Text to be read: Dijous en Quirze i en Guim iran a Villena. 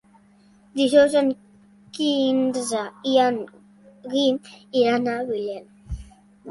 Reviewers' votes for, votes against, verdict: 1, 3, rejected